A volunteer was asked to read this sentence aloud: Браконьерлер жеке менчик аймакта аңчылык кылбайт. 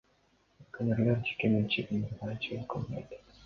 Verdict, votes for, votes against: rejected, 0, 2